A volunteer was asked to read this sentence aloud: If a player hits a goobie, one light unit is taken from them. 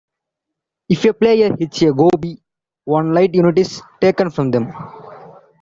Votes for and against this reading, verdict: 0, 2, rejected